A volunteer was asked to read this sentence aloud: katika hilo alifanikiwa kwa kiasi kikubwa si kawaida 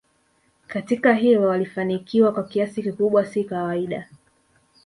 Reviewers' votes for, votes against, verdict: 2, 0, accepted